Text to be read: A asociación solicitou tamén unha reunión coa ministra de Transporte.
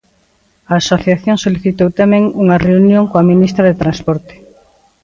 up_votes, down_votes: 2, 0